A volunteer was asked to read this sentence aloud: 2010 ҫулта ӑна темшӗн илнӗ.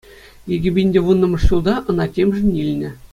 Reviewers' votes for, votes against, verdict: 0, 2, rejected